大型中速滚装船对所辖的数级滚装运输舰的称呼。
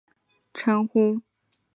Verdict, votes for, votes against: rejected, 0, 3